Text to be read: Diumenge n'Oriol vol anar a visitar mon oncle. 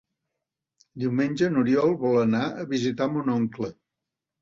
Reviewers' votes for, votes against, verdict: 3, 0, accepted